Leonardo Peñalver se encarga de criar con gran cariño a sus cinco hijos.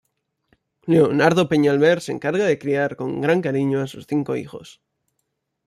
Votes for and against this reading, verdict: 2, 0, accepted